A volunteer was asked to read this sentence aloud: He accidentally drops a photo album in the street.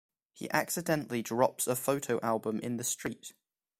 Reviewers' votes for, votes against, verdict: 2, 0, accepted